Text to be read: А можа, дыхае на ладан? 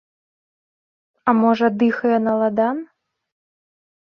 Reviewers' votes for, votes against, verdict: 2, 1, accepted